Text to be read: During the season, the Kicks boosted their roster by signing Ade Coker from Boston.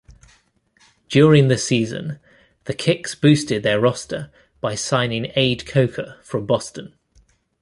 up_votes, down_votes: 2, 0